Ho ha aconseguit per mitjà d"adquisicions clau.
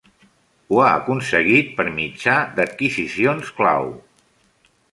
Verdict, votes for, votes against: accepted, 2, 0